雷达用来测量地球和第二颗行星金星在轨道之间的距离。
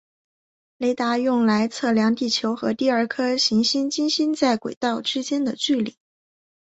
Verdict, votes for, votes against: accepted, 3, 0